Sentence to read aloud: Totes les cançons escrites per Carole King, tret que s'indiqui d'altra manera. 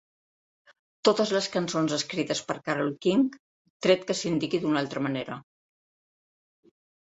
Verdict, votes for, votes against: rejected, 0, 2